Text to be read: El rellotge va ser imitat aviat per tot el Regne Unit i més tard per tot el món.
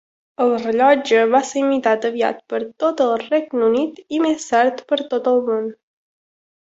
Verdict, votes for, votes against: accepted, 3, 0